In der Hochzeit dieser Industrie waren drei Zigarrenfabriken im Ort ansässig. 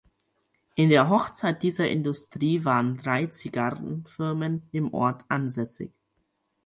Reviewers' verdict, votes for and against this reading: rejected, 0, 4